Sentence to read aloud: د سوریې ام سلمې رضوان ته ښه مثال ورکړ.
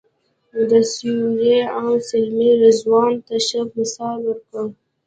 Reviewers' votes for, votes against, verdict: 2, 1, accepted